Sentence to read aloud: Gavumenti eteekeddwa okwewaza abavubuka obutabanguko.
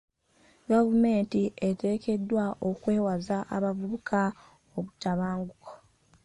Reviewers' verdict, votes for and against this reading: accepted, 2, 0